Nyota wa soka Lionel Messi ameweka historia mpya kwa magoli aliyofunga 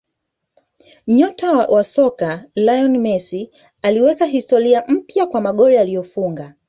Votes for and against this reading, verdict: 1, 2, rejected